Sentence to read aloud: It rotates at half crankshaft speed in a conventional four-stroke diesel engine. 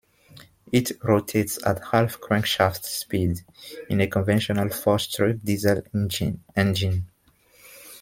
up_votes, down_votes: 0, 2